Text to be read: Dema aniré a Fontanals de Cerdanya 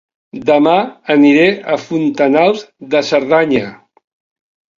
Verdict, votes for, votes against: accepted, 3, 0